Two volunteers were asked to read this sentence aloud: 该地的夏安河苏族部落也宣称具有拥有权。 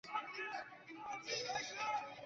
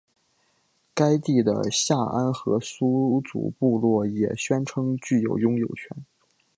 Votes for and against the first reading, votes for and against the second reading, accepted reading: 0, 2, 2, 1, second